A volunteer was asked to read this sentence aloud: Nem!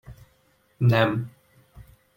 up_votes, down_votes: 2, 0